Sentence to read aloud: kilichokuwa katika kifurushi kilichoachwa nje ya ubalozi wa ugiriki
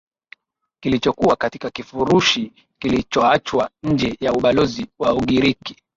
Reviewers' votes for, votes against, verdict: 2, 1, accepted